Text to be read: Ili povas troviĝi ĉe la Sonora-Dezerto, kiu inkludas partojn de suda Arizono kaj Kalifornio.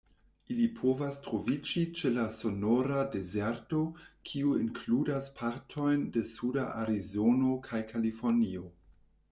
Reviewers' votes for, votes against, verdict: 2, 0, accepted